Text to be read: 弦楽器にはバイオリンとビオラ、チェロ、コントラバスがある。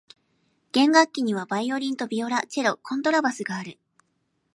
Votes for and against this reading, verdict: 2, 0, accepted